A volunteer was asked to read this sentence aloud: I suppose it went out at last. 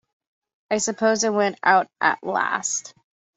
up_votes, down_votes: 2, 0